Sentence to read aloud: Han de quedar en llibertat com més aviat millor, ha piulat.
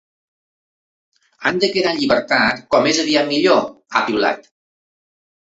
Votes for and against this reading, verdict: 2, 0, accepted